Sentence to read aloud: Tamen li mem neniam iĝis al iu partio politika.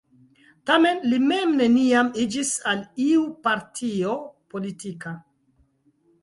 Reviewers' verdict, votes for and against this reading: accepted, 2, 0